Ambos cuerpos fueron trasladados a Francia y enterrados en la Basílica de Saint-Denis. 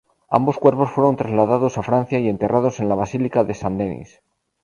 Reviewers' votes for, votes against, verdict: 0, 2, rejected